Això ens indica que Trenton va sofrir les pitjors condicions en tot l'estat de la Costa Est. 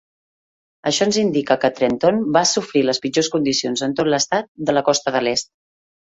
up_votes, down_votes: 1, 2